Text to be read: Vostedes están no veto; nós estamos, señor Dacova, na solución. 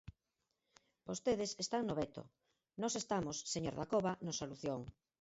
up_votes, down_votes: 4, 0